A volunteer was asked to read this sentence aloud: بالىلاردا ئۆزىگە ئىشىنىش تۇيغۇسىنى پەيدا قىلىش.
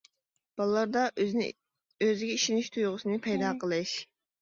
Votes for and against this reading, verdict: 1, 2, rejected